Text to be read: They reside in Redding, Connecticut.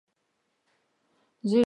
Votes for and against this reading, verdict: 0, 2, rejected